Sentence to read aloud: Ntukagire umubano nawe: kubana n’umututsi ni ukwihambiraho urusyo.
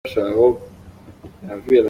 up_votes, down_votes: 0, 2